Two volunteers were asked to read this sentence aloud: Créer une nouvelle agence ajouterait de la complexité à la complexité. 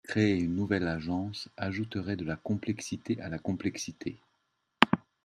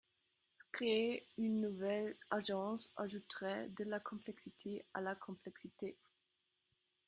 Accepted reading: first